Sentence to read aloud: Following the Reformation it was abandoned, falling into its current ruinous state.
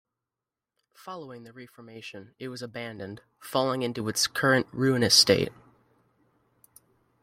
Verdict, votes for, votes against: accepted, 2, 1